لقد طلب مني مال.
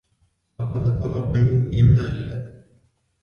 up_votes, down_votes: 1, 2